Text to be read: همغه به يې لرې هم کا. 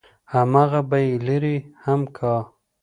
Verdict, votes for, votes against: accepted, 3, 0